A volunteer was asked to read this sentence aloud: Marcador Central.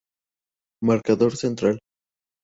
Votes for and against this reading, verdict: 2, 0, accepted